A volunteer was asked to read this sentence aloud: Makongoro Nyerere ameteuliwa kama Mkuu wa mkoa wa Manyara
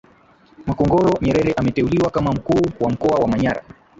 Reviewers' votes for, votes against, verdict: 3, 1, accepted